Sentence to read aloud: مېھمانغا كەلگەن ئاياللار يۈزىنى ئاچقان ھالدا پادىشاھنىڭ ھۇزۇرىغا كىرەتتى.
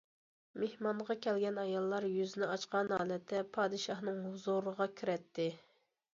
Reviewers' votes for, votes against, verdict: 1, 2, rejected